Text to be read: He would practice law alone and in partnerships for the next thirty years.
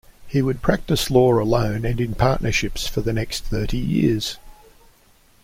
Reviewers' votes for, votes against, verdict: 2, 0, accepted